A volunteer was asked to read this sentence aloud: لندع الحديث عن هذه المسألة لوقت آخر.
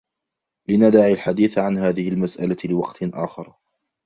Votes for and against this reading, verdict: 2, 0, accepted